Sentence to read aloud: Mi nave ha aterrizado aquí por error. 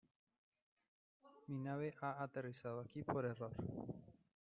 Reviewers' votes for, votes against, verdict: 0, 2, rejected